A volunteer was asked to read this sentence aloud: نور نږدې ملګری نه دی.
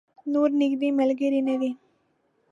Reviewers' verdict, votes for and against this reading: accepted, 2, 0